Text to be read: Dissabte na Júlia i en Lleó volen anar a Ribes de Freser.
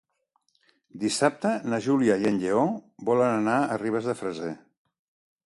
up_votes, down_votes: 2, 0